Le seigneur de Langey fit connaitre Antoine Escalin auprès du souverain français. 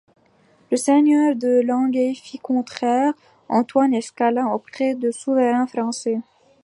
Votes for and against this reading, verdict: 1, 2, rejected